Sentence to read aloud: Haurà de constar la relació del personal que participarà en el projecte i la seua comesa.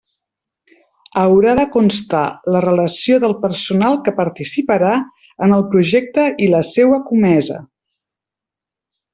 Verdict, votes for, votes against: accepted, 3, 0